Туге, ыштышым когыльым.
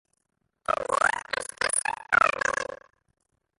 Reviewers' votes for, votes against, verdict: 0, 2, rejected